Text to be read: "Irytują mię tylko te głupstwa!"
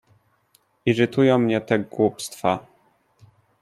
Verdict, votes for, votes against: rejected, 0, 2